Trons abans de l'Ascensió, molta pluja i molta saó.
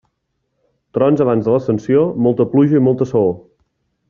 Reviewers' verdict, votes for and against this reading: accepted, 2, 0